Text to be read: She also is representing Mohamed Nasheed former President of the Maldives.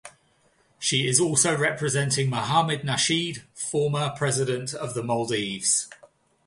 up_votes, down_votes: 0, 2